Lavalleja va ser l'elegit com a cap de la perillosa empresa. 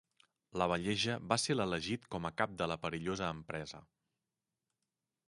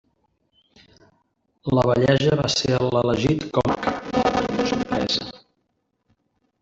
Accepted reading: first